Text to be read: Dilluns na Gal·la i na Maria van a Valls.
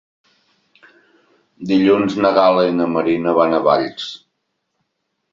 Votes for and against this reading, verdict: 0, 2, rejected